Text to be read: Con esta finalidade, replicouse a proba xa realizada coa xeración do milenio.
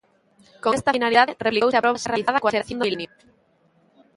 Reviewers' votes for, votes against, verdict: 0, 2, rejected